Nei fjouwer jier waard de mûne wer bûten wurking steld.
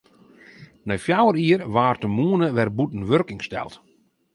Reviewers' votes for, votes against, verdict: 0, 2, rejected